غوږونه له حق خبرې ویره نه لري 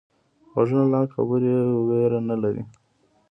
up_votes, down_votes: 1, 2